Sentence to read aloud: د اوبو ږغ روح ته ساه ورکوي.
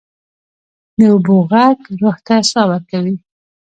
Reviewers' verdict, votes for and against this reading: accepted, 2, 0